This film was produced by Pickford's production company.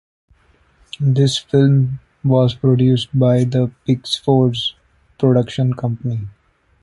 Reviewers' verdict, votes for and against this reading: rejected, 1, 2